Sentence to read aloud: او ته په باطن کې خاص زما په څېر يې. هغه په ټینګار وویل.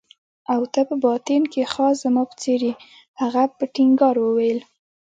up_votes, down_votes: 2, 0